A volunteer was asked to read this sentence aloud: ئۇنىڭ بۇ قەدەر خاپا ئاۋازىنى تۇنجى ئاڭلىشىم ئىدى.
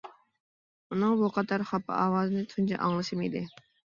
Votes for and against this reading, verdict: 3, 0, accepted